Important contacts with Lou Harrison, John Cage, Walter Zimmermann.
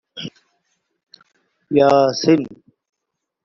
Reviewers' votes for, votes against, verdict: 0, 2, rejected